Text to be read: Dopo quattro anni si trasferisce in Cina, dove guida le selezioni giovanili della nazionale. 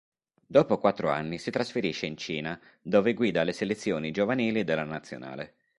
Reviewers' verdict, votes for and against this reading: accepted, 3, 0